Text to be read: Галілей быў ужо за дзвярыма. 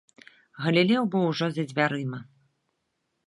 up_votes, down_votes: 1, 2